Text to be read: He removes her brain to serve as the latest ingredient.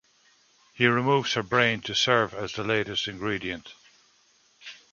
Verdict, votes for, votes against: accepted, 2, 0